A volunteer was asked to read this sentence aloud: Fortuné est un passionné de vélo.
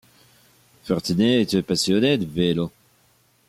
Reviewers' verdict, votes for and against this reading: rejected, 1, 2